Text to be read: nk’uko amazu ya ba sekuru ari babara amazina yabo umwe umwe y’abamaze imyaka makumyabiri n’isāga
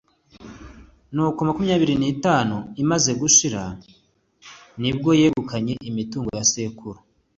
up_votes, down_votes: 1, 2